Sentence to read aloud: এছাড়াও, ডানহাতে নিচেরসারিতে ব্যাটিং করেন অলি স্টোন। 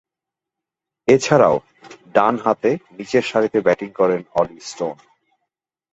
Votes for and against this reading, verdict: 21, 3, accepted